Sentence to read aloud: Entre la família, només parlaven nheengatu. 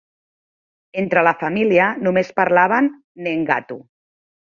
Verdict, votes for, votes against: accepted, 2, 0